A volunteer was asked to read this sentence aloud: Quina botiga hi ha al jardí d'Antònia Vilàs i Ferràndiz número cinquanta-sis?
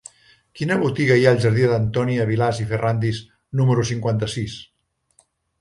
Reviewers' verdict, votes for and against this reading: accepted, 3, 0